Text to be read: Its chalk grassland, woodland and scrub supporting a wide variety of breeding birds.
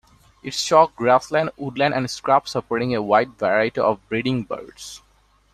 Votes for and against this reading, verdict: 2, 0, accepted